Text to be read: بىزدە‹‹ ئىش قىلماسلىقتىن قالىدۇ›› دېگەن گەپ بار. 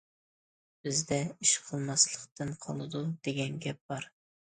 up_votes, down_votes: 2, 0